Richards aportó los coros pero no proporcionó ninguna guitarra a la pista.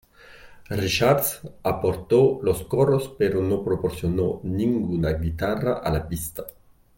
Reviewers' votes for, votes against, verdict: 1, 2, rejected